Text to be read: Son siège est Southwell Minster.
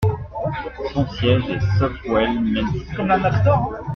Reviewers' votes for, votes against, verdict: 0, 2, rejected